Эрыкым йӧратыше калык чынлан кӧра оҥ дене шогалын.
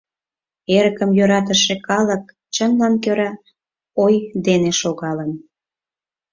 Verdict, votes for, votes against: rejected, 0, 4